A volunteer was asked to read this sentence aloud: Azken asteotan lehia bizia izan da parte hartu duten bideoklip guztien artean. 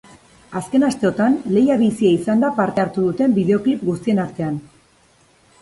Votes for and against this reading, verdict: 2, 0, accepted